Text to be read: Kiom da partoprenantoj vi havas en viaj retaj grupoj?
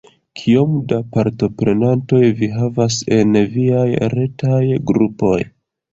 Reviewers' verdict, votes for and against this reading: accepted, 2, 0